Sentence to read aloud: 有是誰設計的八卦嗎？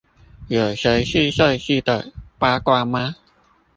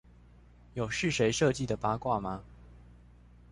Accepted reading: second